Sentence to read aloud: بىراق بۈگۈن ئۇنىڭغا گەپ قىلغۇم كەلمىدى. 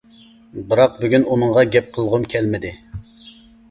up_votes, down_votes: 2, 0